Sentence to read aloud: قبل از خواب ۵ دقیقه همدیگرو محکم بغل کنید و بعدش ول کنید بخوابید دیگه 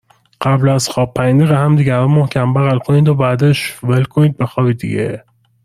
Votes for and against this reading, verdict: 0, 2, rejected